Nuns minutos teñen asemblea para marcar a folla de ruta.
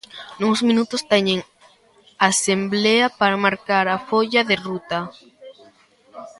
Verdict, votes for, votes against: rejected, 1, 2